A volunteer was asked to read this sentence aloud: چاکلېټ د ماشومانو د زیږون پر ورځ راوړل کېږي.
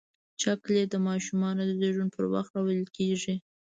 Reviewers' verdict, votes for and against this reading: rejected, 1, 2